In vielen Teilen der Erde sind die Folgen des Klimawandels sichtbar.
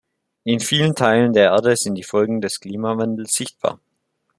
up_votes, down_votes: 2, 0